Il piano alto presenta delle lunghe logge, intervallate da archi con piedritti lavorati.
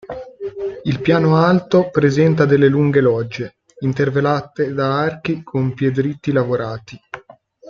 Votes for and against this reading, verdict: 1, 2, rejected